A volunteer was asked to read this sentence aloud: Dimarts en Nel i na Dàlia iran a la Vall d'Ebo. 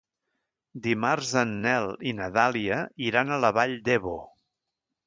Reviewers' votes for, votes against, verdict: 2, 0, accepted